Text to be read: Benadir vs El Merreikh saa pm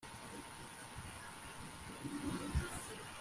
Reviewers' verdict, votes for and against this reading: rejected, 0, 2